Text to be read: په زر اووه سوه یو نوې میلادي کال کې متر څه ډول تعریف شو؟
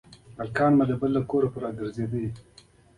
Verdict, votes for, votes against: rejected, 0, 2